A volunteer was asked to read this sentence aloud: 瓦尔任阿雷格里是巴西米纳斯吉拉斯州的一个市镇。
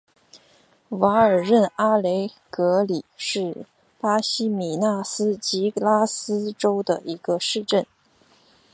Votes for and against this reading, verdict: 2, 1, accepted